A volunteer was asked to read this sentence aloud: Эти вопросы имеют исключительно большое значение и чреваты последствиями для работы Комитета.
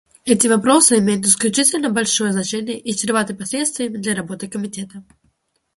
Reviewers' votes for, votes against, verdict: 2, 0, accepted